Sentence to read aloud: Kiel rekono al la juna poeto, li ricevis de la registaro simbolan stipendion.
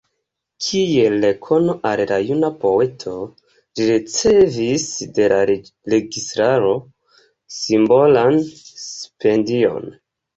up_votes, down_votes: 1, 2